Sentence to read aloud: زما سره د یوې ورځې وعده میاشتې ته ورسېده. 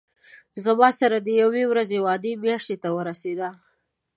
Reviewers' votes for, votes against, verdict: 2, 0, accepted